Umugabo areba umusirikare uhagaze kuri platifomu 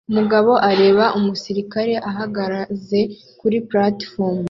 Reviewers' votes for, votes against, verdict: 0, 2, rejected